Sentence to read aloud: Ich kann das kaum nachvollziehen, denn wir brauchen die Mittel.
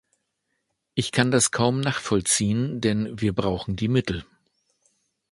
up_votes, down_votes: 2, 0